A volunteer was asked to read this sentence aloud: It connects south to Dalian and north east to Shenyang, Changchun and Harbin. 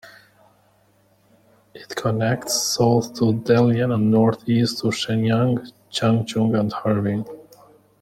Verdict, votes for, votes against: accepted, 2, 0